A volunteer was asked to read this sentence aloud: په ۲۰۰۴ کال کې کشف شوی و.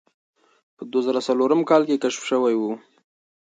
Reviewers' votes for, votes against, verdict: 0, 2, rejected